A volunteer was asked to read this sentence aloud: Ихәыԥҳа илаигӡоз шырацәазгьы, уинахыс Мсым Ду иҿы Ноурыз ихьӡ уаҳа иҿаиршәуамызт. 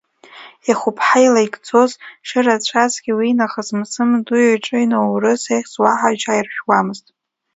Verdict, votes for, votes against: rejected, 1, 2